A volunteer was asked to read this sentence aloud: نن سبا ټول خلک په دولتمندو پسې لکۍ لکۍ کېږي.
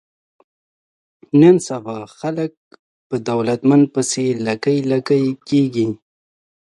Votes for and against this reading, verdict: 0, 2, rejected